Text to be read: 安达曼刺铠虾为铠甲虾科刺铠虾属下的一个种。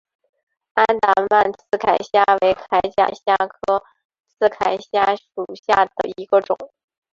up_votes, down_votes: 2, 0